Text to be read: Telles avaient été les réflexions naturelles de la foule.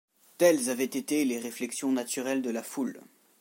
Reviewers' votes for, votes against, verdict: 2, 0, accepted